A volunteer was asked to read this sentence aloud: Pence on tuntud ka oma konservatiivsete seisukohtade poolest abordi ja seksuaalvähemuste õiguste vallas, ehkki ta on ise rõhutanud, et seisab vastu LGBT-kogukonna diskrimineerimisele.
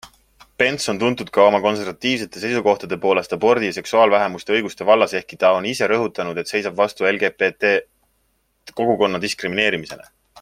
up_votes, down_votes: 2, 0